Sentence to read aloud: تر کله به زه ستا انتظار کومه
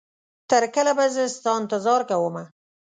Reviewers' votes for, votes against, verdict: 2, 0, accepted